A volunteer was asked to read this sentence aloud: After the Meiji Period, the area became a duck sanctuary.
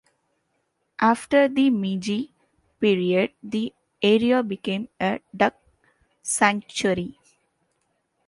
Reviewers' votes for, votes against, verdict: 2, 1, accepted